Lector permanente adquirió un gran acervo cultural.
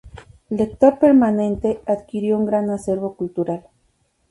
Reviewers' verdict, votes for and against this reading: accepted, 2, 0